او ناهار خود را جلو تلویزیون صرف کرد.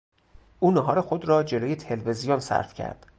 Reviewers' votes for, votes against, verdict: 2, 2, rejected